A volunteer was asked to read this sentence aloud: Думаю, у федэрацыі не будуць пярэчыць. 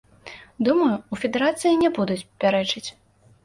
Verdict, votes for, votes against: accepted, 2, 0